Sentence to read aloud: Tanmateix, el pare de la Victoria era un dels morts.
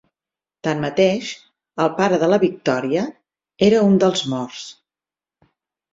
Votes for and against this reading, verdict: 6, 2, accepted